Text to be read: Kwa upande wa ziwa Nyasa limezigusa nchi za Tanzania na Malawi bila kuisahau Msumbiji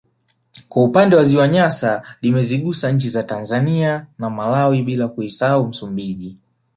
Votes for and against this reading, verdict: 1, 2, rejected